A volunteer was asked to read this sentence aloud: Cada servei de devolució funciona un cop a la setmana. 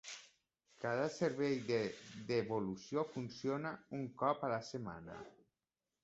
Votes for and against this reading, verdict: 2, 0, accepted